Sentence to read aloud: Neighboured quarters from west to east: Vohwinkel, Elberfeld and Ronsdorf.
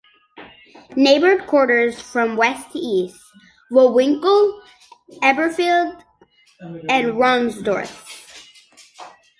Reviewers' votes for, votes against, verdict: 0, 2, rejected